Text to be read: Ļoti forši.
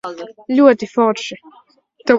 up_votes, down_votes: 0, 3